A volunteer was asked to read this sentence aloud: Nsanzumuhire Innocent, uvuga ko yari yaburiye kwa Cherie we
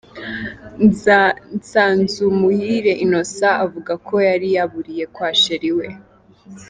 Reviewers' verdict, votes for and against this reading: rejected, 0, 2